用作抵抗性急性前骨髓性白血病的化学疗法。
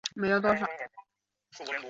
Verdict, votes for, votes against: rejected, 0, 3